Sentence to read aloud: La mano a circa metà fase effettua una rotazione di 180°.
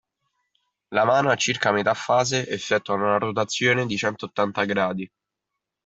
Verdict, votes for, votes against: rejected, 0, 2